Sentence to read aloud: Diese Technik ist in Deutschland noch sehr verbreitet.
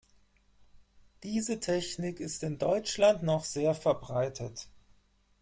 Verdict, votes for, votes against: accepted, 4, 0